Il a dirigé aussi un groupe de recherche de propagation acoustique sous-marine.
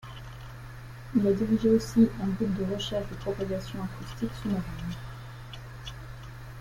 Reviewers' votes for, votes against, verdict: 0, 2, rejected